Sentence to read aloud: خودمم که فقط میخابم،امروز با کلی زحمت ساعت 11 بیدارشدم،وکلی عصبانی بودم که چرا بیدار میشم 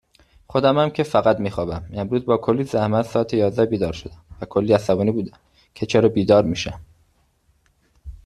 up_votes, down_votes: 0, 2